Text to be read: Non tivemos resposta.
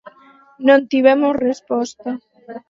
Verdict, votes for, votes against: accepted, 4, 0